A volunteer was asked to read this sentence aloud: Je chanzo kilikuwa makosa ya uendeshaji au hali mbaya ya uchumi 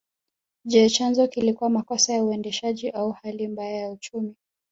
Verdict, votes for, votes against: accepted, 2, 1